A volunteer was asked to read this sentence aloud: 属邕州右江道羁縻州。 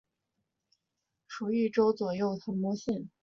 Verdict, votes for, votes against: accepted, 3, 0